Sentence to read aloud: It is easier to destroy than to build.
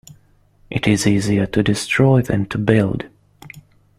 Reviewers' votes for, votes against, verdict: 2, 0, accepted